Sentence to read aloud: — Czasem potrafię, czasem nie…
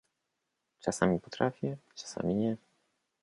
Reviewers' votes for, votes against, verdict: 2, 0, accepted